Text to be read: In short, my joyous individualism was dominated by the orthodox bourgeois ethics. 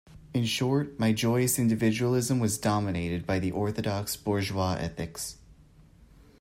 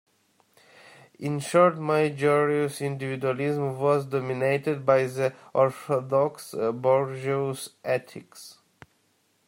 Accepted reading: first